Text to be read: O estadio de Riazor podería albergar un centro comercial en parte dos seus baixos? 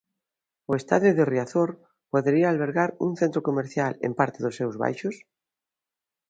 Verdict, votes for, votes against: accepted, 2, 0